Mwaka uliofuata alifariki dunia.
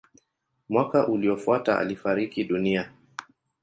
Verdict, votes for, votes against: accepted, 2, 0